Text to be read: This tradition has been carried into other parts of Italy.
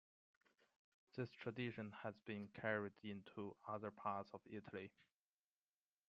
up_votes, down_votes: 2, 1